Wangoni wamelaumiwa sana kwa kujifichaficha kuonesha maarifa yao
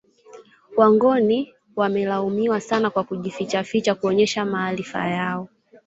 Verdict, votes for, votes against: accepted, 3, 1